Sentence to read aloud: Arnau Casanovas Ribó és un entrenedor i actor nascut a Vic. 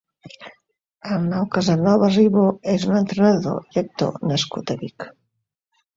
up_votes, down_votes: 2, 1